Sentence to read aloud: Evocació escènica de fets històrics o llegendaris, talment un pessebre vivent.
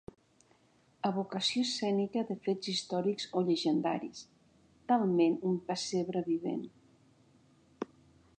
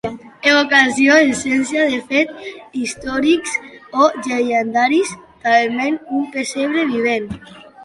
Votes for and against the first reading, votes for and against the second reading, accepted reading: 3, 0, 1, 2, first